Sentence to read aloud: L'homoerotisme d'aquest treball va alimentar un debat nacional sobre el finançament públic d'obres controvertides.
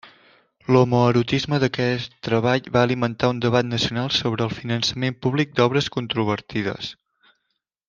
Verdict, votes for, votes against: rejected, 1, 2